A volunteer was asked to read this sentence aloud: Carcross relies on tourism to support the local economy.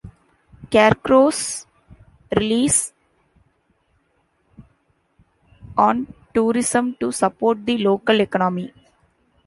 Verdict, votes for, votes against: rejected, 1, 2